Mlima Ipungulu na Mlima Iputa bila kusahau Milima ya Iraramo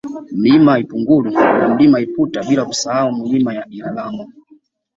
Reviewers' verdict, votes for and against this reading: accepted, 2, 0